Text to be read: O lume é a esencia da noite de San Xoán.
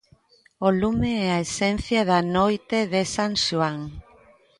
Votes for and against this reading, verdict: 2, 0, accepted